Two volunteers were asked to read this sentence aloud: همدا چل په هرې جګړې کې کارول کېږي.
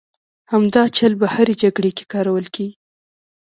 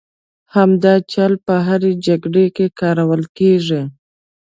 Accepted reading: second